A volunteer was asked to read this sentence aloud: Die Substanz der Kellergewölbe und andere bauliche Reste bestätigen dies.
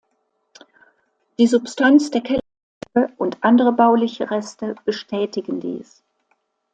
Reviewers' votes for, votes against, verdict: 0, 2, rejected